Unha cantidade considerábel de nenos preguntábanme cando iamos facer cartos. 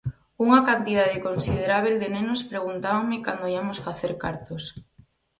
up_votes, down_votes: 2, 4